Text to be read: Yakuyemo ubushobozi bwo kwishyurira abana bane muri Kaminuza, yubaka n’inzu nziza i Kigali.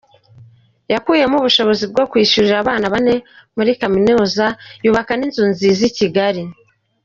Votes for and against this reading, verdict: 2, 0, accepted